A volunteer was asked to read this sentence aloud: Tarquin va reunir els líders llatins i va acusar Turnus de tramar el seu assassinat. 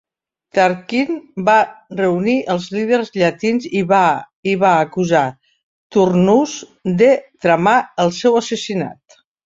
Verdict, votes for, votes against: rejected, 1, 2